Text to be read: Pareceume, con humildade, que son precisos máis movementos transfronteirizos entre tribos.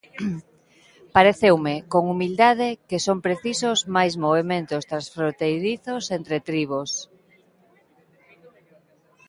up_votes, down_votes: 3, 2